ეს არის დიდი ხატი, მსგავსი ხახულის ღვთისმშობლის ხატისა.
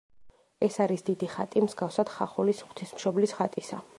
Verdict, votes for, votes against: rejected, 0, 2